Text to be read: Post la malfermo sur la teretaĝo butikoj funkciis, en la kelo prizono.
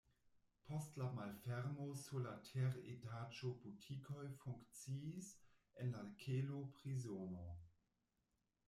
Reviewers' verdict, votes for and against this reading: rejected, 1, 2